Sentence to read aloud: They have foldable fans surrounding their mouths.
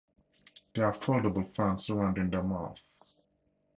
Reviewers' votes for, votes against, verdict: 4, 0, accepted